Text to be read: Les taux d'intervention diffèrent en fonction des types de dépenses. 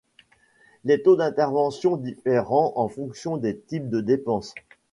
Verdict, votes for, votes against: rejected, 0, 2